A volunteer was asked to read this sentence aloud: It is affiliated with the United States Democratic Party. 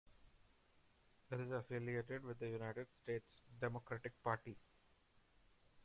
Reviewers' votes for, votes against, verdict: 2, 0, accepted